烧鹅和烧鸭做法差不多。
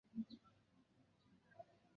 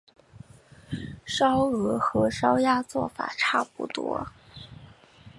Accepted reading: second